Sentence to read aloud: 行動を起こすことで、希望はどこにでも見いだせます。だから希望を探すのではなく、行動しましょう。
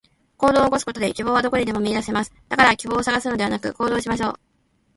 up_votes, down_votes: 2, 1